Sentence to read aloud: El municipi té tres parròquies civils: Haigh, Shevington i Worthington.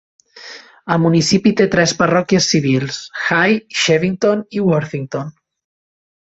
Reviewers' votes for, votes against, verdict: 2, 0, accepted